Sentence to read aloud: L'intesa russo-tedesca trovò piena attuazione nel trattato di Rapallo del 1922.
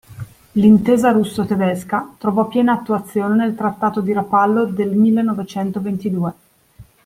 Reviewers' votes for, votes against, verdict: 0, 2, rejected